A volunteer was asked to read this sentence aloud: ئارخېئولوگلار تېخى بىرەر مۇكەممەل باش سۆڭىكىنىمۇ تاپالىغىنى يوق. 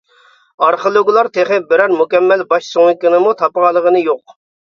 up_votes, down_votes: 0, 2